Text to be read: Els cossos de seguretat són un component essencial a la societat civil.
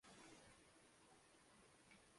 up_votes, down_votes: 0, 2